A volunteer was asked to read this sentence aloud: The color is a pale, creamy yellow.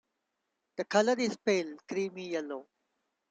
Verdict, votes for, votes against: rejected, 1, 2